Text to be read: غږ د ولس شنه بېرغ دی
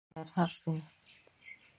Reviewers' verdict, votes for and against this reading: rejected, 0, 2